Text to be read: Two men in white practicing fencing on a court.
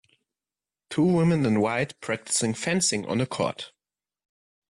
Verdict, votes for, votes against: rejected, 0, 2